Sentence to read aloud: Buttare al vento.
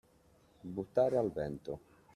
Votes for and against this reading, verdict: 0, 2, rejected